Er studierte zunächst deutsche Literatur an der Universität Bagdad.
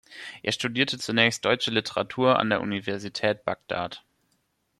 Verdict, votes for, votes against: rejected, 1, 2